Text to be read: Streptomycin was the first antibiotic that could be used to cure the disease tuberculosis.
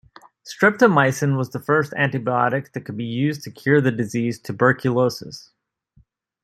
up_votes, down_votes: 2, 0